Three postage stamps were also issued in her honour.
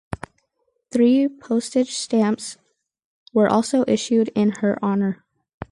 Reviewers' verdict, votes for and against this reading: accepted, 4, 0